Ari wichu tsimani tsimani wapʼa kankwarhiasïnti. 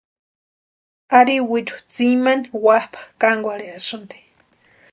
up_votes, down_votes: 0, 2